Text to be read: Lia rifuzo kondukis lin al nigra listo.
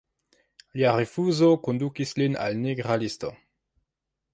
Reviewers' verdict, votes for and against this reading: accepted, 2, 1